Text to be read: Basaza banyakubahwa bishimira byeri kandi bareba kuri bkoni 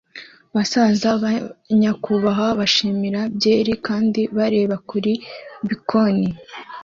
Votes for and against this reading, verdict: 2, 0, accepted